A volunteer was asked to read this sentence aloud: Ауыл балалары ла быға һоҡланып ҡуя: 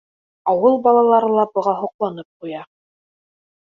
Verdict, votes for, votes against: accepted, 2, 0